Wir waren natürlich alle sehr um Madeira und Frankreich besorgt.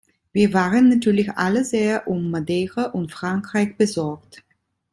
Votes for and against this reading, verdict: 2, 0, accepted